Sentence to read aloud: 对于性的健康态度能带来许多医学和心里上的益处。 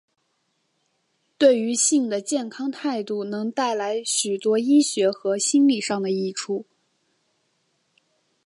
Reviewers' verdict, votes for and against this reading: accepted, 4, 0